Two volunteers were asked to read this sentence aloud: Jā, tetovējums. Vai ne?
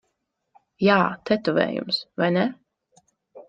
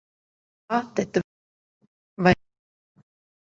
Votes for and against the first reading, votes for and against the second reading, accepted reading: 2, 0, 0, 2, first